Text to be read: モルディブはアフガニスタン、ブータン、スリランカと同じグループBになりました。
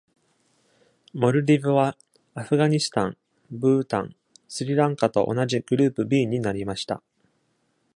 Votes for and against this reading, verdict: 2, 0, accepted